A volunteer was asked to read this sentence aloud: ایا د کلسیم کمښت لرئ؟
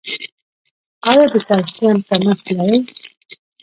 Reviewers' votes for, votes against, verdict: 1, 2, rejected